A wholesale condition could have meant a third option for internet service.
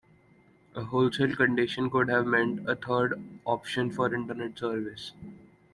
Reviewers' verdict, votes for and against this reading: accepted, 2, 0